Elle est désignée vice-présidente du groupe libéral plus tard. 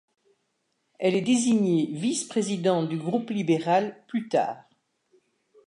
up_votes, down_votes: 2, 0